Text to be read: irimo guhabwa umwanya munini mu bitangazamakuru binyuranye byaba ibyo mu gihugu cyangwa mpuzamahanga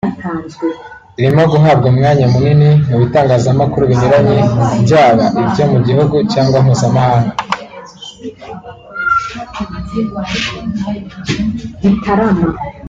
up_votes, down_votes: 1, 2